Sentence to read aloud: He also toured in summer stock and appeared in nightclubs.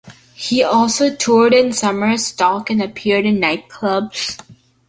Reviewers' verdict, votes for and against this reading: accepted, 2, 0